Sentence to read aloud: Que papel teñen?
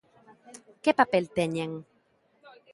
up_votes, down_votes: 0, 2